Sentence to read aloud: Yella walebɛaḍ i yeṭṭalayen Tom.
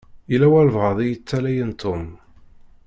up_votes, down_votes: 0, 2